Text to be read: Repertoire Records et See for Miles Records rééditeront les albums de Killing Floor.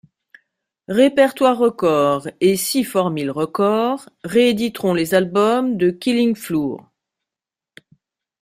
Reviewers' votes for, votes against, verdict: 0, 2, rejected